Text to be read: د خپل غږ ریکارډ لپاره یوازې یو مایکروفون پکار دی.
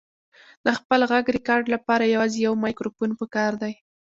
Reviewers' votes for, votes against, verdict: 2, 0, accepted